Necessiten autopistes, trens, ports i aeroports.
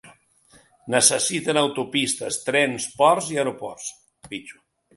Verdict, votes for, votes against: rejected, 0, 2